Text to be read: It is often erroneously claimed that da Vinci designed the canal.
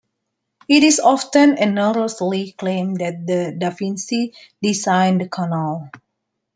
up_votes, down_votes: 0, 2